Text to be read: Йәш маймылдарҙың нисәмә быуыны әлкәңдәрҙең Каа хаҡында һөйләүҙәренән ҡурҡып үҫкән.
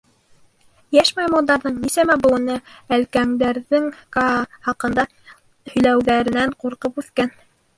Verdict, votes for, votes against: rejected, 1, 2